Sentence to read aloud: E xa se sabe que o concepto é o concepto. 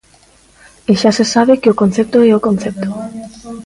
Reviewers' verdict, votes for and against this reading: rejected, 0, 2